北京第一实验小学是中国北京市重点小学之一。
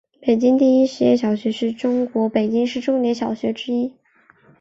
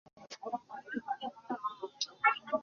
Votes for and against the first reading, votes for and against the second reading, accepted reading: 2, 0, 0, 7, first